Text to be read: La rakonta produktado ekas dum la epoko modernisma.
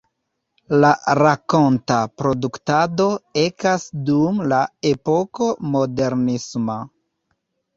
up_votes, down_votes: 2, 0